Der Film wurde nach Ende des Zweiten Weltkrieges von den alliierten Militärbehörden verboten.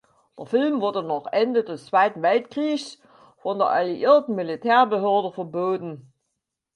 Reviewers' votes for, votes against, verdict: 2, 6, rejected